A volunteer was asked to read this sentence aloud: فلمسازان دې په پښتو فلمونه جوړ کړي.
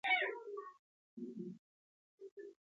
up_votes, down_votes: 1, 2